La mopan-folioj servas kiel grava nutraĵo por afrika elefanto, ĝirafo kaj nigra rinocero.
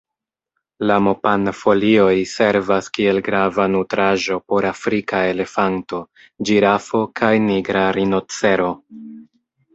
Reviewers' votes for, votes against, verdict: 1, 2, rejected